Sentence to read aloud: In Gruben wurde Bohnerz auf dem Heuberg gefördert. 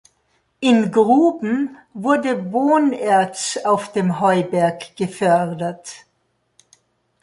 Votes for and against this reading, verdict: 2, 0, accepted